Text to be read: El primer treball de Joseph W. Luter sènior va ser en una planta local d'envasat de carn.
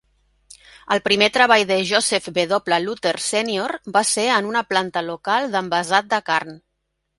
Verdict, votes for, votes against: accepted, 4, 0